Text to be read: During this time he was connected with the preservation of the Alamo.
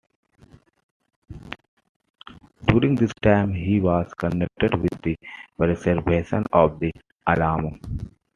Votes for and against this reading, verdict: 2, 0, accepted